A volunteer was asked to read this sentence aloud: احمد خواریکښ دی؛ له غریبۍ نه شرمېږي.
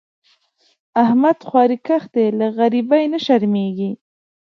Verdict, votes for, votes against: accepted, 2, 0